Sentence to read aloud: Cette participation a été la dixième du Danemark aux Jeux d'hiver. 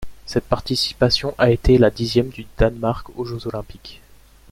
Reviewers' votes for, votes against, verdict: 0, 2, rejected